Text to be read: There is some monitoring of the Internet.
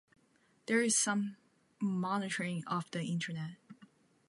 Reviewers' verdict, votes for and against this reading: accepted, 3, 0